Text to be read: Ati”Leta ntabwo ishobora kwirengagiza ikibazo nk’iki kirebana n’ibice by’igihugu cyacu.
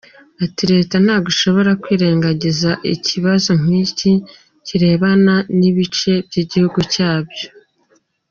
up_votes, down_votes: 1, 2